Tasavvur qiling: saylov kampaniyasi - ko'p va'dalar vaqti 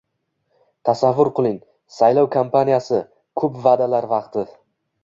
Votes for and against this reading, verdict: 2, 0, accepted